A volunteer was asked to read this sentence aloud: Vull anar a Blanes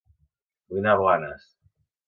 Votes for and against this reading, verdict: 1, 2, rejected